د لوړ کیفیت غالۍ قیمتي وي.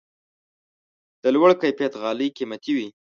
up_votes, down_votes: 2, 0